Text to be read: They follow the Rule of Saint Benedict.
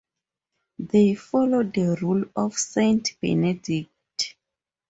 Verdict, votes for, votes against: accepted, 2, 0